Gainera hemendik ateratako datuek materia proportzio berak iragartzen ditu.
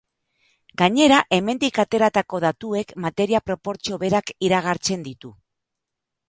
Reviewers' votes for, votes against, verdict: 2, 1, accepted